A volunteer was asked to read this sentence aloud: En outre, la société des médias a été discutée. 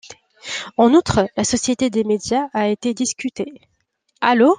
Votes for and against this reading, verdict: 2, 3, rejected